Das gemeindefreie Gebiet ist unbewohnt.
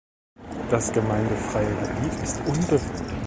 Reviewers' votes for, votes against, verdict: 2, 0, accepted